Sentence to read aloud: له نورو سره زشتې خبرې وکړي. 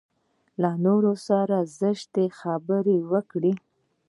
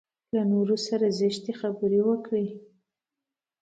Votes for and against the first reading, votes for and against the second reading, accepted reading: 1, 2, 2, 0, second